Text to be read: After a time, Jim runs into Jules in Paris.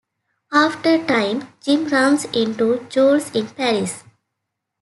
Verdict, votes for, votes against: rejected, 0, 2